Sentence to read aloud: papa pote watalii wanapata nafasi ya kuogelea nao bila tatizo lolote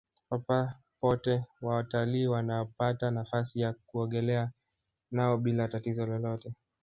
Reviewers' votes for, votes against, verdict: 1, 2, rejected